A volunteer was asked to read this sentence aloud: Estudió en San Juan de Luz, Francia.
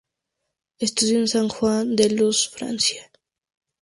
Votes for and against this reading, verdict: 2, 0, accepted